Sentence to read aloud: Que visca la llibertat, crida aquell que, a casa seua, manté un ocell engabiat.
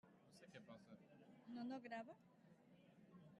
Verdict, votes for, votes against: rejected, 0, 2